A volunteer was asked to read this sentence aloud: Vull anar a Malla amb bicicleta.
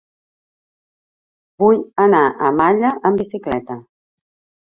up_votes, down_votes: 2, 1